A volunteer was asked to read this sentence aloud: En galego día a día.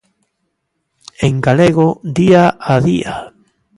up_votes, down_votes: 2, 0